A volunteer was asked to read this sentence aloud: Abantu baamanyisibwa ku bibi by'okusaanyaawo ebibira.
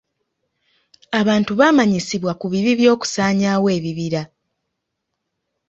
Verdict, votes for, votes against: accepted, 2, 0